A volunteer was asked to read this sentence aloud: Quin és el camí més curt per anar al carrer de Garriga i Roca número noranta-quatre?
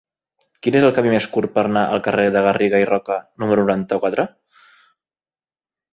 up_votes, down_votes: 3, 1